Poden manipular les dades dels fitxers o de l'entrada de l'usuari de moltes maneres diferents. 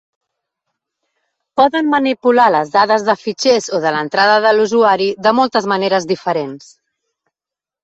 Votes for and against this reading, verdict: 1, 2, rejected